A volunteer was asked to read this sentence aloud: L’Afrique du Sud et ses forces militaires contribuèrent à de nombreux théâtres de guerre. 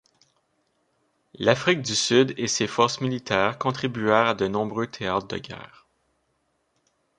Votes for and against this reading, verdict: 1, 2, rejected